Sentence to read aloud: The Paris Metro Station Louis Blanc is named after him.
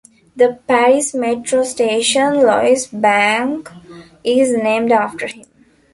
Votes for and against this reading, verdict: 0, 2, rejected